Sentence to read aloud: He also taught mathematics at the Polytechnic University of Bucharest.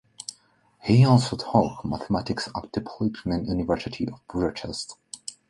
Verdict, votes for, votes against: accepted, 2, 0